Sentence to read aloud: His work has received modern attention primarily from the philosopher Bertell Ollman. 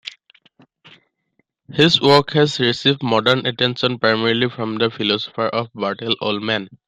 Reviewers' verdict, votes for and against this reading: accepted, 2, 0